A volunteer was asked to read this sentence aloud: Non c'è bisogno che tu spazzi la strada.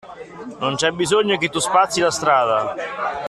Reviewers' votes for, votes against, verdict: 2, 0, accepted